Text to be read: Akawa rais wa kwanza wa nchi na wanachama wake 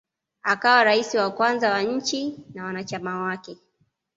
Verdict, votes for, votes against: accepted, 2, 0